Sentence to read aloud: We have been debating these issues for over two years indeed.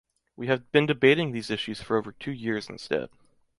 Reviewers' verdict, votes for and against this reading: rejected, 0, 2